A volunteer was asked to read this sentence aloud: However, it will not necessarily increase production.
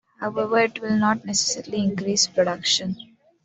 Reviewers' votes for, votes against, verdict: 2, 0, accepted